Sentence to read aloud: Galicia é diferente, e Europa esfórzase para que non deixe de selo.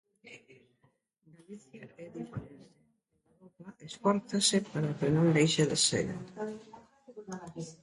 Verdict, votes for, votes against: rejected, 0, 2